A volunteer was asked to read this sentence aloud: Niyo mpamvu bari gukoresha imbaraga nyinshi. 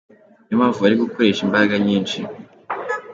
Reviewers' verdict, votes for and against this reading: accepted, 2, 0